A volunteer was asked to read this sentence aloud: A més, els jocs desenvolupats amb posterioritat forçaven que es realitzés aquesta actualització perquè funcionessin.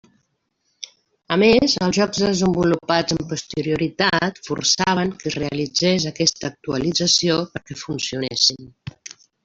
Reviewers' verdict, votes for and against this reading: accepted, 3, 1